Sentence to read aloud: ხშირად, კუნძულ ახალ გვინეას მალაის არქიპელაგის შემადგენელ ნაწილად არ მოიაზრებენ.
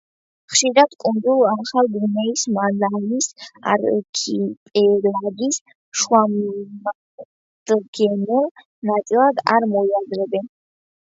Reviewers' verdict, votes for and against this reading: rejected, 0, 2